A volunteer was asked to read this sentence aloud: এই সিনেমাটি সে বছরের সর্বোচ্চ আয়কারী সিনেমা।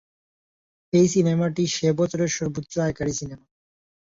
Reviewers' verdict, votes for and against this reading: accepted, 2, 0